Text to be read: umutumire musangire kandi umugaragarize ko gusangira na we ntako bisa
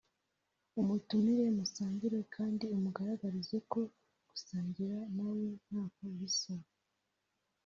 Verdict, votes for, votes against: accepted, 2, 1